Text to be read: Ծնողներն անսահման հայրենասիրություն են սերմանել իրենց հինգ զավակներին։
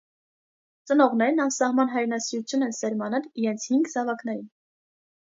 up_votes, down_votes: 2, 0